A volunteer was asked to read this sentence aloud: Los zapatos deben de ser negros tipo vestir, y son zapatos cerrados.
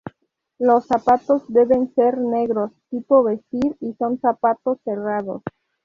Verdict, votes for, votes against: rejected, 2, 2